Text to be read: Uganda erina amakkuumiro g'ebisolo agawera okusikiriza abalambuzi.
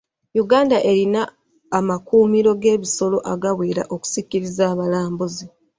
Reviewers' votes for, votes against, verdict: 1, 2, rejected